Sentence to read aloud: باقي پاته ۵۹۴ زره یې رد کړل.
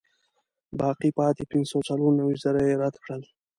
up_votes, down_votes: 0, 2